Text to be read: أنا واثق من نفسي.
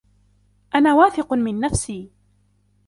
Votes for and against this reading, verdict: 2, 0, accepted